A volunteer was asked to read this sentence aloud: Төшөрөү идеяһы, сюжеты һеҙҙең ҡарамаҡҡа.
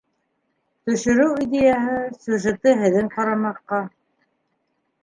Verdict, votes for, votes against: rejected, 1, 2